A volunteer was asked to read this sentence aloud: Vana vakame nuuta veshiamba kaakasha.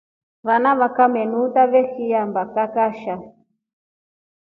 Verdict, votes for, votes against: accepted, 2, 0